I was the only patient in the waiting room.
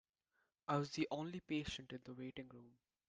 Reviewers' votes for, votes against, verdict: 2, 0, accepted